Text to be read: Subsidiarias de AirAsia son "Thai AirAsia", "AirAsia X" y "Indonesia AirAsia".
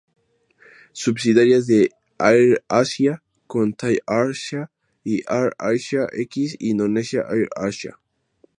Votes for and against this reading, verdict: 0, 2, rejected